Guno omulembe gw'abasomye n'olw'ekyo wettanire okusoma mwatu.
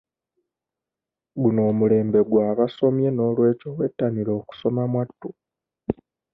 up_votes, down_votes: 2, 0